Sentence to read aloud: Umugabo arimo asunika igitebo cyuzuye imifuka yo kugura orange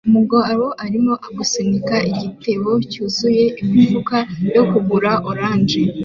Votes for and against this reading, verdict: 2, 0, accepted